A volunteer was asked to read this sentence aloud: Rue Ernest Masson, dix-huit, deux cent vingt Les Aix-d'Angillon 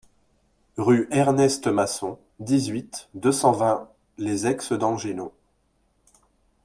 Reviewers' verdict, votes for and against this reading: accepted, 2, 0